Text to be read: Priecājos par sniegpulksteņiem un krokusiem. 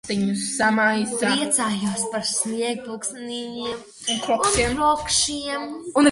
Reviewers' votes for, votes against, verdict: 0, 2, rejected